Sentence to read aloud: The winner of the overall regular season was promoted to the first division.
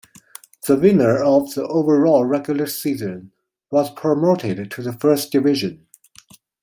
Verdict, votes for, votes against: accepted, 2, 0